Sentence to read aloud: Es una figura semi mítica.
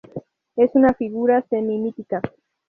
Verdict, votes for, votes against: rejected, 2, 2